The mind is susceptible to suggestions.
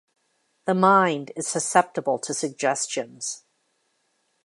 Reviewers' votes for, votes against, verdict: 2, 0, accepted